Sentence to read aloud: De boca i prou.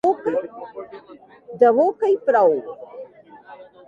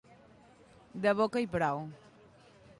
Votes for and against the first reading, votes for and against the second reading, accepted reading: 1, 2, 2, 0, second